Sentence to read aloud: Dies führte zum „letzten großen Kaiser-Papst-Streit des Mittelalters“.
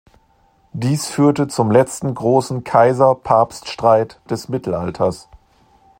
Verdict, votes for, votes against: accepted, 2, 0